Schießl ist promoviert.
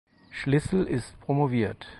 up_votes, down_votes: 0, 4